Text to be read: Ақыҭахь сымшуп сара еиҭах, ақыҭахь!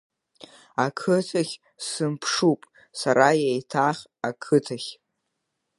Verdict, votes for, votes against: accepted, 2, 0